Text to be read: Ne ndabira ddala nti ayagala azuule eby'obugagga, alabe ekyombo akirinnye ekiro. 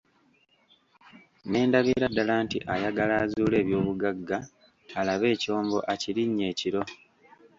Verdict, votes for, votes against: rejected, 0, 2